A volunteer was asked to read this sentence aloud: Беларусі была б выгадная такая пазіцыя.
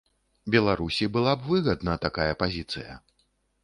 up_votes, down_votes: 0, 2